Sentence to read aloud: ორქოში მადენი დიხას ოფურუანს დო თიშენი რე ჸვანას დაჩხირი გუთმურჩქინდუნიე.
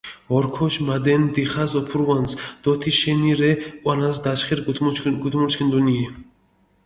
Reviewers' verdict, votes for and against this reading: rejected, 0, 2